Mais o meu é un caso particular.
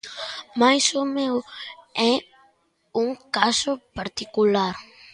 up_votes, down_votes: 2, 0